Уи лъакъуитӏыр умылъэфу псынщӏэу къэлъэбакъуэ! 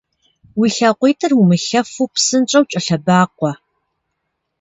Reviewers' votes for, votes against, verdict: 1, 2, rejected